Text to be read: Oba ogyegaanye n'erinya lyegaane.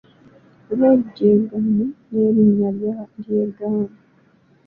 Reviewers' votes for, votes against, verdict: 1, 2, rejected